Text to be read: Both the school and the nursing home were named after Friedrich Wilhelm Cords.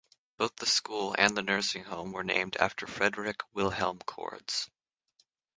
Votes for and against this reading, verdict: 3, 0, accepted